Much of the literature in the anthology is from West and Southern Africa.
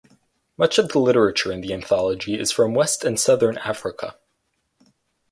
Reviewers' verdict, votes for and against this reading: accepted, 4, 0